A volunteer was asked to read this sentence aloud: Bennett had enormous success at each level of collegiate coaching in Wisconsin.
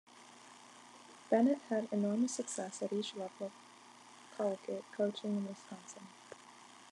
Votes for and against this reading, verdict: 2, 0, accepted